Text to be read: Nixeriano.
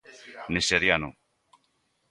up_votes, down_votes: 2, 1